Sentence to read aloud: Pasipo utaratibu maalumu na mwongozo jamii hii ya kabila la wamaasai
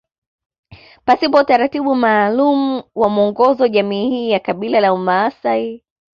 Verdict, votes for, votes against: accepted, 2, 0